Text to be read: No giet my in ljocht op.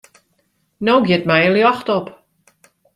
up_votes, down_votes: 2, 0